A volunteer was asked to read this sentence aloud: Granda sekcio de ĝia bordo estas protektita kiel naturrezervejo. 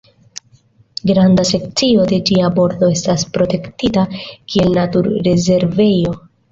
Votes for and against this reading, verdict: 2, 0, accepted